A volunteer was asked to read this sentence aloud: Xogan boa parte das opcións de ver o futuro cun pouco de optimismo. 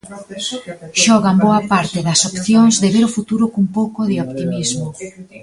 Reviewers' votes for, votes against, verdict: 1, 2, rejected